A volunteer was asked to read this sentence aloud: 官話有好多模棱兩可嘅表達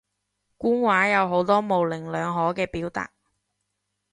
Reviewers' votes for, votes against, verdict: 3, 0, accepted